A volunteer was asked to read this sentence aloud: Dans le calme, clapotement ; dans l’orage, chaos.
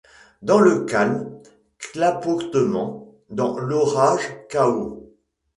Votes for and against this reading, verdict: 2, 0, accepted